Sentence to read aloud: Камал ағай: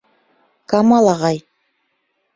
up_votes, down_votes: 2, 0